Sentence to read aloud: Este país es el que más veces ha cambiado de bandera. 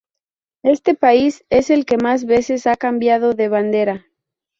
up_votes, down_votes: 2, 0